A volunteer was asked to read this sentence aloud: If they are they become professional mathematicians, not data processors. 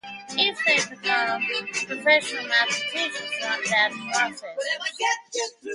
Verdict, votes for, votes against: rejected, 0, 2